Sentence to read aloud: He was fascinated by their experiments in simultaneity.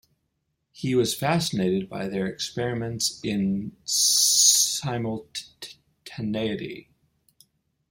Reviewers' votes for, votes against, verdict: 0, 2, rejected